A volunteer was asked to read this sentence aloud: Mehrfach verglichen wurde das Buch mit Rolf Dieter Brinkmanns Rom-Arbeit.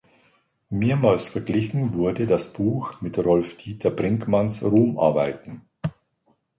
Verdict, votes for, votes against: rejected, 1, 2